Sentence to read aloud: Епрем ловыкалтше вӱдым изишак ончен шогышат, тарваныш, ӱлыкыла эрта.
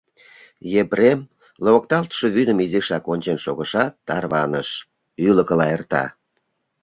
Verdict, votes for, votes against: rejected, 0, 2